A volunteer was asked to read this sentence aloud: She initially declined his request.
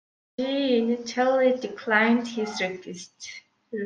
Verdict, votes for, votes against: rejected, 0, 2